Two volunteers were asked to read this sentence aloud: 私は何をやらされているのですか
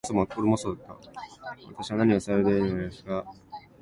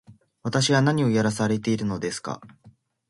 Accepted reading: second